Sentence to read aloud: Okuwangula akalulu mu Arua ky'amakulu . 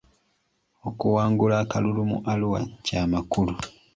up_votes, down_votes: 2, 0